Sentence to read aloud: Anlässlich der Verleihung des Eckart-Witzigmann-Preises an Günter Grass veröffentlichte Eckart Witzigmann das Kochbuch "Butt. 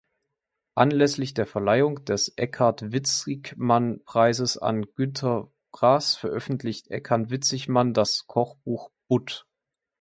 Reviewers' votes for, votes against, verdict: 2, 1, accepted